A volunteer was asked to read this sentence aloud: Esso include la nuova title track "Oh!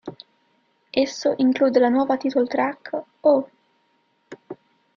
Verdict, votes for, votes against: rejected, 1, 2